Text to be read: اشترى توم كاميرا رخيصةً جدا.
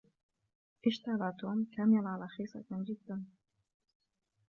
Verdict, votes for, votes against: rejected, 1, 2